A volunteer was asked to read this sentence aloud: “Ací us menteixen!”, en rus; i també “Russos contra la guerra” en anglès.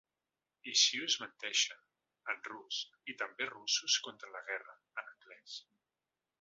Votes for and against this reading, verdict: 0, 2, rejected